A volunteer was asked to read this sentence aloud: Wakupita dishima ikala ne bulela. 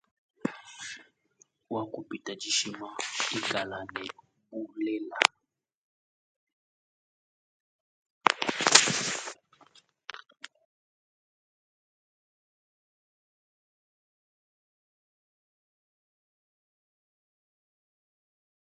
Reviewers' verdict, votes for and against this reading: rejected, 0, 3